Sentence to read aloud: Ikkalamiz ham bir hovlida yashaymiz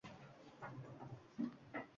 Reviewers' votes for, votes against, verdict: 0, 2, rejected